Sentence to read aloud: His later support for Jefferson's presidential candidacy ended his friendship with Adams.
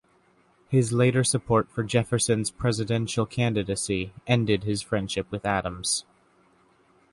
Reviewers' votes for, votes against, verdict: 2, 0, accepted